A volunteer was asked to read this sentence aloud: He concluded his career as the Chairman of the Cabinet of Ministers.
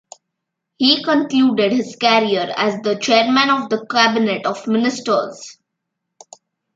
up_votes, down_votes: 2, 0